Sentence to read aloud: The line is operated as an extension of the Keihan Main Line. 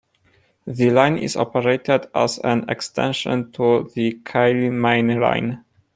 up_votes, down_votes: 1, 2